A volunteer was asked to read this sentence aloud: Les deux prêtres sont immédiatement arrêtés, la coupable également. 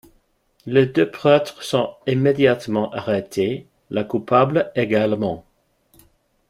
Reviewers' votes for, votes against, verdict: 2, 0, accepted